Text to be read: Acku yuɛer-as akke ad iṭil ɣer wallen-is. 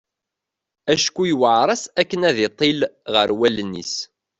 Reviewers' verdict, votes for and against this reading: accepted, 2, 0